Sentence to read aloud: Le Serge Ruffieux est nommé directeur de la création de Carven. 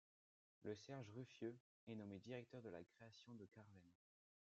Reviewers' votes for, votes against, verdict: 1, 2, rejected